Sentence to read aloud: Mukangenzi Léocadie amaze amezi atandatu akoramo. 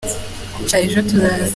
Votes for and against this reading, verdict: 0, 2, rejected